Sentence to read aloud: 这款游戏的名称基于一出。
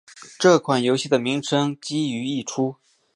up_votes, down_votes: 1, 2